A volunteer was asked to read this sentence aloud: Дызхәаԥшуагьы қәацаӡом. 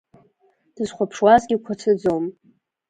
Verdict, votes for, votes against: rejected, 1, 2